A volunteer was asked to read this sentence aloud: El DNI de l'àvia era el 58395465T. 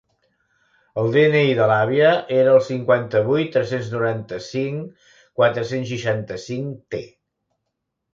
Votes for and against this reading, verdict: 0, 2, rejected